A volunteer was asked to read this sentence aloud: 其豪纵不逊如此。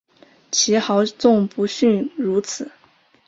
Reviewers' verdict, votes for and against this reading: accepted, 2, 0